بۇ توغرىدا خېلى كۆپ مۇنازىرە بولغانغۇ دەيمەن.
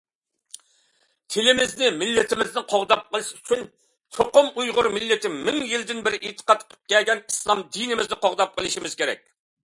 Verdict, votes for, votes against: rejected, 0, 2